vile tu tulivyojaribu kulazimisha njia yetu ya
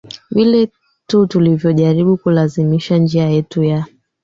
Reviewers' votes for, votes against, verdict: 2, 1, accepted